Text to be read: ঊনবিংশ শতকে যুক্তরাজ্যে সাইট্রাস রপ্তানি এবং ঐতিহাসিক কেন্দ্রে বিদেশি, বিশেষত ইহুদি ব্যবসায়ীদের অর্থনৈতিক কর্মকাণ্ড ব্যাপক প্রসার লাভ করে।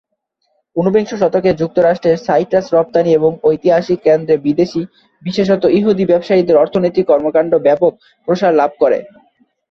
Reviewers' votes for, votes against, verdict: 1, 2, rejected